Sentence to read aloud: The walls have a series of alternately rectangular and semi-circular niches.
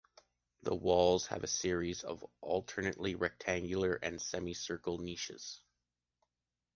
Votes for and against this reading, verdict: 2, 0, accepted